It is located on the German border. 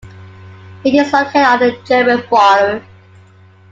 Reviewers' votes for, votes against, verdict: 1, 3, rejected